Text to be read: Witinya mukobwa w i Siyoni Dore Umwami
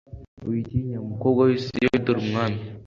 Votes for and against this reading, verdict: 3, 0, accepted